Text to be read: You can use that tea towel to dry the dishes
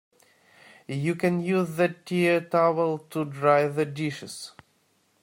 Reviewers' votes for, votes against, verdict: 1, 2, rejected